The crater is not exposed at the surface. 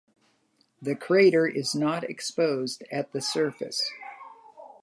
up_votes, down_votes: 3, 0